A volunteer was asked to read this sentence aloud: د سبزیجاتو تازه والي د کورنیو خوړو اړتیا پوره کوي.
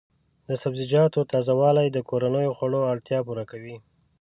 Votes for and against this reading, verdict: 2, 0, accepted